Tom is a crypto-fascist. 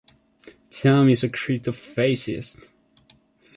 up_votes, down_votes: 1, 2